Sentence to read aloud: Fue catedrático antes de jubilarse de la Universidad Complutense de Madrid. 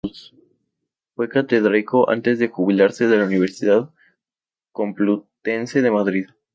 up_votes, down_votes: 0, 2